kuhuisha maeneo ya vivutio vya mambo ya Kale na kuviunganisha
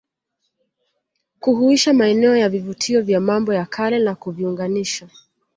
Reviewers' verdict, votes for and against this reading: accepted, 2, 0